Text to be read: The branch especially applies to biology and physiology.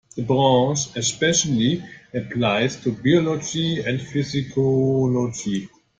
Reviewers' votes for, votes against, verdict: 1, 2, rejected